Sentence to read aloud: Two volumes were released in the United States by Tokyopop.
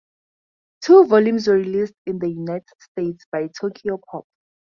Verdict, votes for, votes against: accepted, 4, 0